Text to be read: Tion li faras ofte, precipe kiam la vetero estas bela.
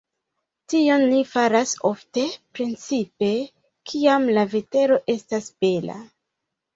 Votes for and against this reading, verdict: 1, 2, rejected